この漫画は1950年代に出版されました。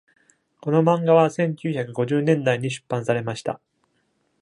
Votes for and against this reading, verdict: 0, 2, rejected